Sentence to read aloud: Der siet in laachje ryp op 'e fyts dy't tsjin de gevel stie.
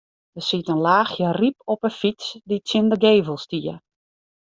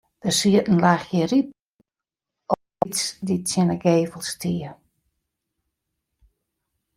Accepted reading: first